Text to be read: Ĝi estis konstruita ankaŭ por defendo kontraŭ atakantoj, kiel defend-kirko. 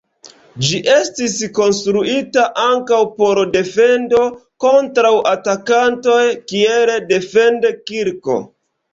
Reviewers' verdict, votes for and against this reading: rejected, 1, 2